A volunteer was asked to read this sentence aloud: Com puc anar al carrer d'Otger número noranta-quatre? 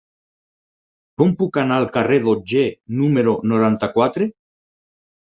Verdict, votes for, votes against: accepted, 6, 0